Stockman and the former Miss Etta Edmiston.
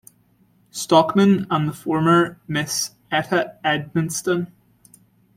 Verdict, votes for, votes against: rejected, 1, 2